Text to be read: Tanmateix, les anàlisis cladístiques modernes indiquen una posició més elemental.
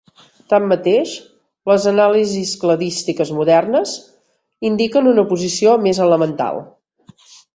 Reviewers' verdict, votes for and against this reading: accepted, 3, 0